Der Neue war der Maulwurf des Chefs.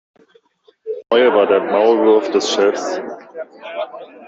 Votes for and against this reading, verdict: 1, 2, rejected